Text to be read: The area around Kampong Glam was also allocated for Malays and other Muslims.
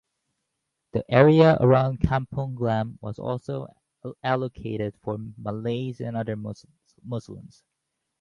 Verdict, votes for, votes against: rejected, 0, 4